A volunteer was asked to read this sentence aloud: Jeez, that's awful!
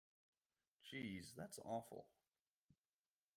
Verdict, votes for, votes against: accepted, 2, 0